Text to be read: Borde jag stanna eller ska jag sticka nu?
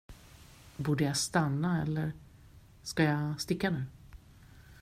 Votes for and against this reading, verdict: 2, 0, accepted